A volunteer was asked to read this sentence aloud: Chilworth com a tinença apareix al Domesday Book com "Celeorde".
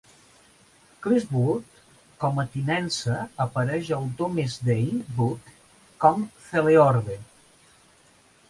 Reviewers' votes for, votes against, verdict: 2, 1, accepted